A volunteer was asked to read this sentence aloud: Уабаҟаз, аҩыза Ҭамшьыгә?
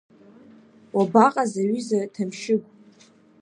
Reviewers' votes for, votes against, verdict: 2, 0, accepted